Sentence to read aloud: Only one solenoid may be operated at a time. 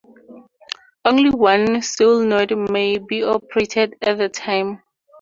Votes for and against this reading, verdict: 4, 0, accepted